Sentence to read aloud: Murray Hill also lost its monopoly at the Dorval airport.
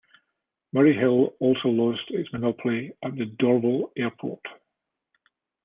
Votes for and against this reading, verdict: 1, 2, rejected